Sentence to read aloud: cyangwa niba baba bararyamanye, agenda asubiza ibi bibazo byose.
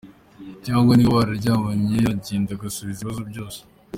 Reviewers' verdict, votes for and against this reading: accepted, 3, 1